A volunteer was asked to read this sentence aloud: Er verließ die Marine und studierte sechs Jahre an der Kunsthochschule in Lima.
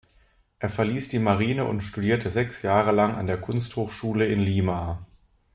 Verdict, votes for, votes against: rejected, 1, 2